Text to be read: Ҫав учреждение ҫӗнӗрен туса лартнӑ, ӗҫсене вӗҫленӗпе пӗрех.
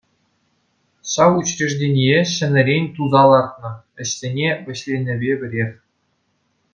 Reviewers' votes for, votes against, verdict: 2, 0, accepted